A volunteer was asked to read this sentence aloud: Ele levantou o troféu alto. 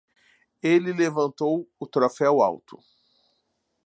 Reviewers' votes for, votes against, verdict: 2, 0, accepted